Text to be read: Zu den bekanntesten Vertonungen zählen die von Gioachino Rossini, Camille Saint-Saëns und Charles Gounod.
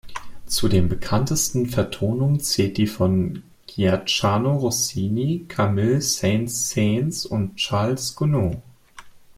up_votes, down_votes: 0, 2